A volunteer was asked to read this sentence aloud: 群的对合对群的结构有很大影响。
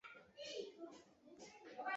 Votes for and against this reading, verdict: 0, 2, rejected